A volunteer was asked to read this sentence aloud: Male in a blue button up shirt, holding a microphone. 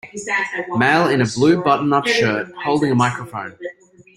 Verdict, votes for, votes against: rejected, 1, 2